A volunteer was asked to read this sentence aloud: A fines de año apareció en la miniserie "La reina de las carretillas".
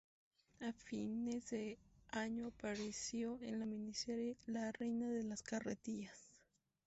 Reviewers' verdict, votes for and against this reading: rejected, 0, 2